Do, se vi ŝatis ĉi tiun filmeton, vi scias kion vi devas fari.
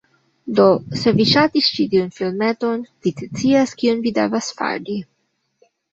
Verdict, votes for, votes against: accepted, 2, 1